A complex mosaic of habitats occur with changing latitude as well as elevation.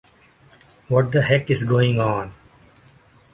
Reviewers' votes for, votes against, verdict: 0, 2, rejected